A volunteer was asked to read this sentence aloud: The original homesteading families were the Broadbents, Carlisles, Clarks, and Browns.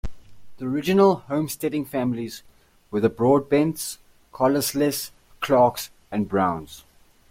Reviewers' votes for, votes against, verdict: 2, 0, accepted